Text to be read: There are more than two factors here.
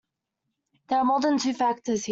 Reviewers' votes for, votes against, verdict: 0, 2, rejected